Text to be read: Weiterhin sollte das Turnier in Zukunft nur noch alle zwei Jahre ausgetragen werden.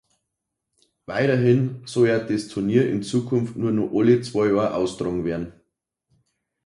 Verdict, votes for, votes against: rejected, 0, 2